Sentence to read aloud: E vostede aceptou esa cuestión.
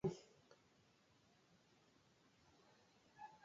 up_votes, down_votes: 0, 2